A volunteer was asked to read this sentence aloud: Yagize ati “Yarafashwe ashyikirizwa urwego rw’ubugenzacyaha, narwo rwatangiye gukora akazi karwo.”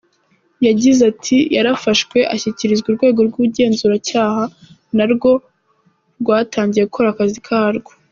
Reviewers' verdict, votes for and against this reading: accepted, 2, 0